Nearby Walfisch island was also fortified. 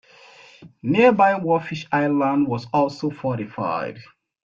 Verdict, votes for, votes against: rejected, 1, 2